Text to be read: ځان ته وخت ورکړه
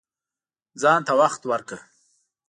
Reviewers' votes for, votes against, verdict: 2, 0, accepted